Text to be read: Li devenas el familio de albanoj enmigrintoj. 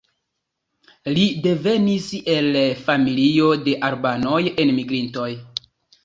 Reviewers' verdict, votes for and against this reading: rejected, 1, 2